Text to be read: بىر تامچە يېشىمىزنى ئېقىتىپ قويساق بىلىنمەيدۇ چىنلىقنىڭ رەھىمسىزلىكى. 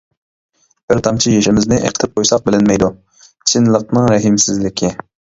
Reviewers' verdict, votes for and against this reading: accepted, 2, 1